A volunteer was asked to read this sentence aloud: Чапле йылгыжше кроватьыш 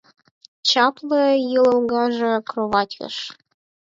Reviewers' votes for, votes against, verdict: 6, 0, accepted